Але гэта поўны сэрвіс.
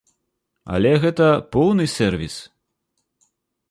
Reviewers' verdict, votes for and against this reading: accepted, 2, 0